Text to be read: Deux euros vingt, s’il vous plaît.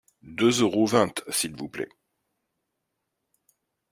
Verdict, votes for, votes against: rejected, 1, 2